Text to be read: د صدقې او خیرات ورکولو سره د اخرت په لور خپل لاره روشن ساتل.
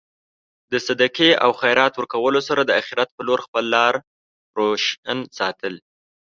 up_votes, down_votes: 1, 2